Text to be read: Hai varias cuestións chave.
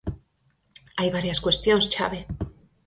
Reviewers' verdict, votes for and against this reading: accepted, 4, 0